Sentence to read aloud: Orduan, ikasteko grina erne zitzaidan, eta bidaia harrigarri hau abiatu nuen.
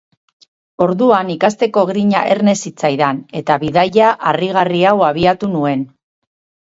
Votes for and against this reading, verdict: 2, 2, rejected